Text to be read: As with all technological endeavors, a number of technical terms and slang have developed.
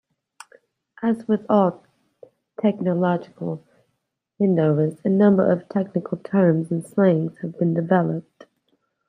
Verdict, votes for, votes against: rejected, 0, 2